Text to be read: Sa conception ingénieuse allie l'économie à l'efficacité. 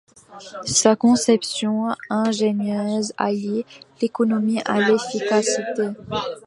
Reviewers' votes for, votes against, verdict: 1, 2, rejected